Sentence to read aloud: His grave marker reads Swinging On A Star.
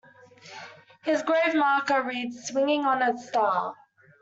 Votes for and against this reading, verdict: 2, 0, accepted